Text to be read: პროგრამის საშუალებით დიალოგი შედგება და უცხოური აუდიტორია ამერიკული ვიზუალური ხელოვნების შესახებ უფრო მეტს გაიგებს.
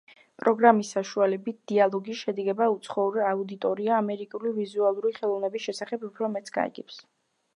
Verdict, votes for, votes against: rejected, 1, 2